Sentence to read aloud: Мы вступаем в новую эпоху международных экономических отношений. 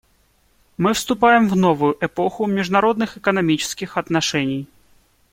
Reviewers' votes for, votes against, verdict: 2, 0, accepted